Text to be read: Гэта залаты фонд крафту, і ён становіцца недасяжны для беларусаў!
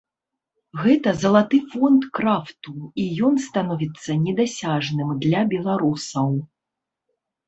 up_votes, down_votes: 0, 2